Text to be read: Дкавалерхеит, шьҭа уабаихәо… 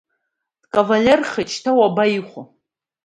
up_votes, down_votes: 1, 2